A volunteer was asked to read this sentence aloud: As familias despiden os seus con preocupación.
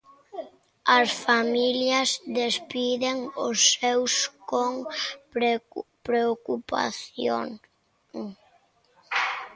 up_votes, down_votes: 1, 2